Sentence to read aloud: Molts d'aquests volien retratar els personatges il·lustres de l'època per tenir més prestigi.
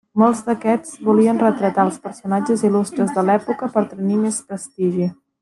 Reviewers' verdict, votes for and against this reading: rejected, 1, 2